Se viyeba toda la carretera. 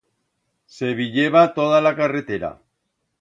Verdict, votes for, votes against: accepted, 2, 0